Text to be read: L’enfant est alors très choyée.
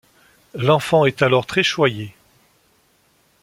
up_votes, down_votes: 2, 0